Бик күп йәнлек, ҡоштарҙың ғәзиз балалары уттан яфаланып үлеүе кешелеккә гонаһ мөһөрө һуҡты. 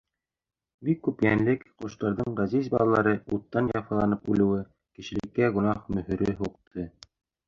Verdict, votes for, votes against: accepted, 2, 1